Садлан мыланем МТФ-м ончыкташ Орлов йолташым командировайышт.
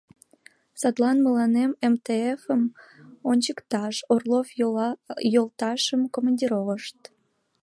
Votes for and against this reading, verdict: 2, 3, rejected